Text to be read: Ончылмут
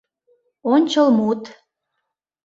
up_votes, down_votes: 2, 0